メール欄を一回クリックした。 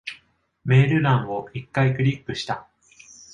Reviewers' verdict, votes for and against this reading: accepted, 2, 0